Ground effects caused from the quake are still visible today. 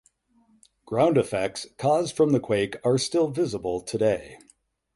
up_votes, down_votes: 8, 0